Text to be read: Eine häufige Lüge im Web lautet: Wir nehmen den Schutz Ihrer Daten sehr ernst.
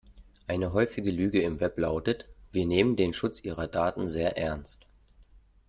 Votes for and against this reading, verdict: 2, 0, accepted